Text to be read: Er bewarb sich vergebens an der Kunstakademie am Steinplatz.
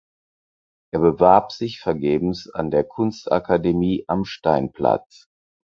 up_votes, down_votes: 4, 0